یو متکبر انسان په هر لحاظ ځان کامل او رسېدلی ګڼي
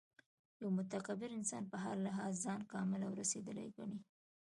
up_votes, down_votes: 0, 2